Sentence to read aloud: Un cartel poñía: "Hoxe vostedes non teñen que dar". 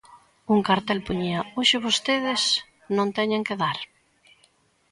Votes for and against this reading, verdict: 2, 0, accepted